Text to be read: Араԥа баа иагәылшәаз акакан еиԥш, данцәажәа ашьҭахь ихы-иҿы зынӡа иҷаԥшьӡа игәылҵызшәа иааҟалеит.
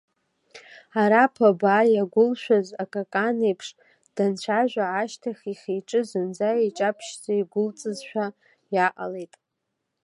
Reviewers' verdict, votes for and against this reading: accepted, 2, 0